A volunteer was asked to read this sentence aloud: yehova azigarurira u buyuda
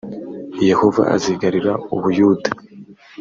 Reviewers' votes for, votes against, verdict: 2, 0, accepted